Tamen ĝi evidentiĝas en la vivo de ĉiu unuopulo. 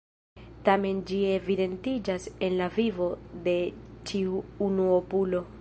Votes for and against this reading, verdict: 2, 1, accepted